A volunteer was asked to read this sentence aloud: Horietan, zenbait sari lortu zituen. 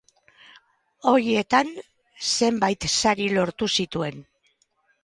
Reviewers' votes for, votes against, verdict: 4, 2, accepted